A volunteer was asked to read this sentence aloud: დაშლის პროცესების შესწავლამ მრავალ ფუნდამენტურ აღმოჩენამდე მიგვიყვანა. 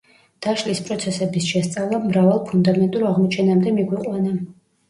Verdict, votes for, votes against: accepted, 2, 0